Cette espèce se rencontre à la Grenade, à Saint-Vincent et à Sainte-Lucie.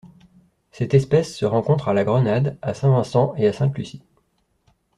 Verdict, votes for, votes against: accepted, 2, 0